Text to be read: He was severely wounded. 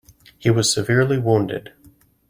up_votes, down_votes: 2, 0